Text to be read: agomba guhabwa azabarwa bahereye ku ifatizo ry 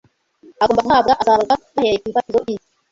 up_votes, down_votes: 1, 2